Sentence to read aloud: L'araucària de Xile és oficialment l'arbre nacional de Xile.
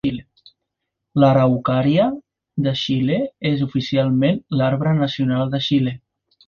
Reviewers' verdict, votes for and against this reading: accepted, 2, 0